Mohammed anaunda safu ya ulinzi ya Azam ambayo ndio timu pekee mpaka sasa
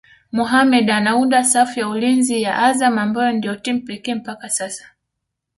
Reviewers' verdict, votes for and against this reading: accepted, 2, 0